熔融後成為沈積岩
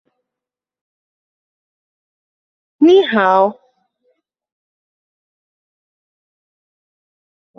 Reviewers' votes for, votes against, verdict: 0, 2, rejected